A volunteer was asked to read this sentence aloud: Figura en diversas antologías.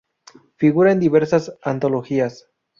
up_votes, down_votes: 2, 0